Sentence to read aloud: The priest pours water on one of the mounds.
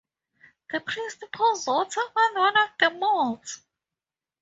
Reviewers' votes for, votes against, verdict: 2, 2, rejected